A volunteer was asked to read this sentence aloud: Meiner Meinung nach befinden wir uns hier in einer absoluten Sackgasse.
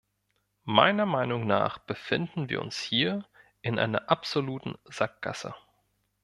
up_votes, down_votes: 2, 0